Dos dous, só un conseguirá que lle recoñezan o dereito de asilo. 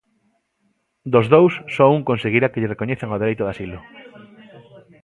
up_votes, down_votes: 0, 2